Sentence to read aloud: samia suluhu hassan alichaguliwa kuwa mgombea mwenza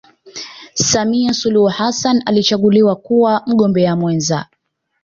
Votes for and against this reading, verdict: 2, 1, accepted